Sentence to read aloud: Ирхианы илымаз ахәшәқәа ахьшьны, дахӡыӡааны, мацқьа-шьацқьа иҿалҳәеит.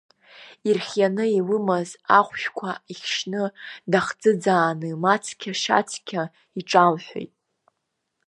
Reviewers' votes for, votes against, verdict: 1, 2, rejected